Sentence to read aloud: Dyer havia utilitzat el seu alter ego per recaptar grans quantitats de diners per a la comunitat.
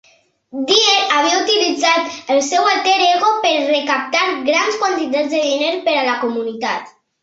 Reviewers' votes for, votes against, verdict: 3, 2, accepted